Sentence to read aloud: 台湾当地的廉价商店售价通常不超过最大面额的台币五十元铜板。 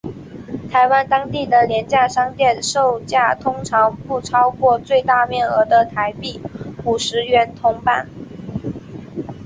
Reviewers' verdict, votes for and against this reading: accepted, 4, 0